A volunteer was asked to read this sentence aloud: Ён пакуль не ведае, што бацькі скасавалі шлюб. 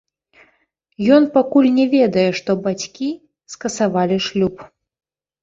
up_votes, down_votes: 2, 1